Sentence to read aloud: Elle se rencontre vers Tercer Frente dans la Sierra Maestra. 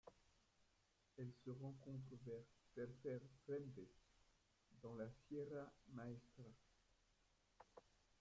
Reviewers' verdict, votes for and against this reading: rejected, 1, 2